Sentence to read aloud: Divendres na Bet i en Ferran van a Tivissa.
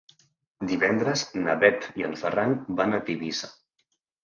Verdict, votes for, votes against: accepted, 2, 0